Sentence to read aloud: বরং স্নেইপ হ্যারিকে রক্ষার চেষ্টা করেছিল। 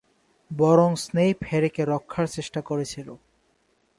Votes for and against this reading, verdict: 2, 1, accepted